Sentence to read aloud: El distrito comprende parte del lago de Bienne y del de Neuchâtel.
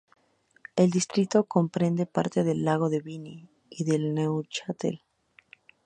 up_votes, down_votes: 0, 2